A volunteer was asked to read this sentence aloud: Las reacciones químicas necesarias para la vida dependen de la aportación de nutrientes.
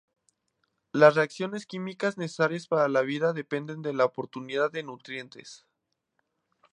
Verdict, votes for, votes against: rejected, 0, 2